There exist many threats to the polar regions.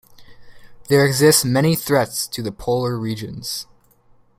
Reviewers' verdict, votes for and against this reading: accepted, 2, 1